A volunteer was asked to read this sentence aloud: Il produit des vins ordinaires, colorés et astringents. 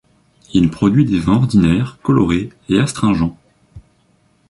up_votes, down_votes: 2, 1